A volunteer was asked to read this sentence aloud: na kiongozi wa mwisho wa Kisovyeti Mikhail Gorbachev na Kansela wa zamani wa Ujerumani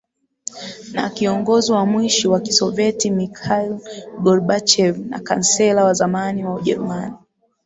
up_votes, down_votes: 0, 2